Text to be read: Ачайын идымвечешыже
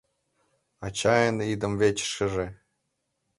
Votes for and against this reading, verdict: 1, 2, rejected